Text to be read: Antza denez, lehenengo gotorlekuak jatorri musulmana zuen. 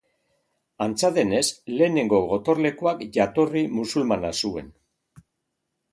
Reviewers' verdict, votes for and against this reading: rejected, 0, 2